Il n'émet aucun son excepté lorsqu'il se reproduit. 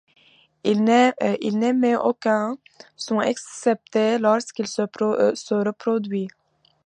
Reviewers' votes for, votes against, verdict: 0, 2, rejected